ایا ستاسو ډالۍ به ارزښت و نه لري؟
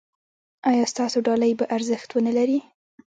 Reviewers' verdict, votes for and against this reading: rejected, 0, 2